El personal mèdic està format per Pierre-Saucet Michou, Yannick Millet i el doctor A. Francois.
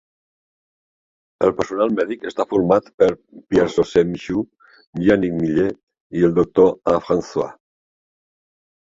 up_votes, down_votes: 2, 1